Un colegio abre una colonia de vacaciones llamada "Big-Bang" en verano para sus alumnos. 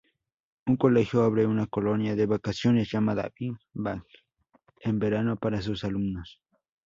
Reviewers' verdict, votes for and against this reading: accepted, 2, 0